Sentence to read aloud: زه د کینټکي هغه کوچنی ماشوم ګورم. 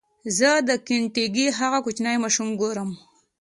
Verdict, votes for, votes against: accepted, 2, 0